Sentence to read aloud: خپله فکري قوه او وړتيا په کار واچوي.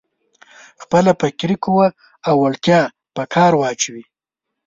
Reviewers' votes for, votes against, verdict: 1, 2, rejected